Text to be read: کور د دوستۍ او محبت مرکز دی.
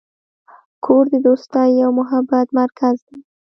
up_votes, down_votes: 2, 1